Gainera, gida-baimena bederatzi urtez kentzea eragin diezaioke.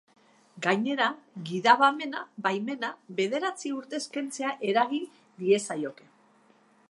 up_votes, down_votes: 0, 2